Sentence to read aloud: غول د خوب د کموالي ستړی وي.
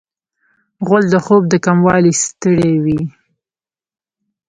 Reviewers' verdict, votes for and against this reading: rejected, 1, 2